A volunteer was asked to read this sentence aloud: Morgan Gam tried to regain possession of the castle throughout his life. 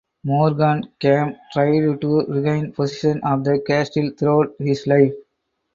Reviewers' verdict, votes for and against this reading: rejected, 2, 4